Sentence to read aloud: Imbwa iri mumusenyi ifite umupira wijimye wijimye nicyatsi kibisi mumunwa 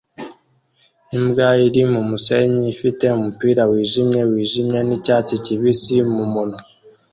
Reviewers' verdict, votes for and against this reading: accepted, 2, 0